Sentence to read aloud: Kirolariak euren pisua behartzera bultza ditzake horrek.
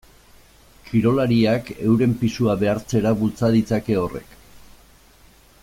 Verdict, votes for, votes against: accepted, 2, 0